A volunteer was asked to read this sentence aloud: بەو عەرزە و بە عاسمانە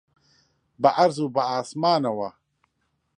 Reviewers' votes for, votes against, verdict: 0, 2, rejected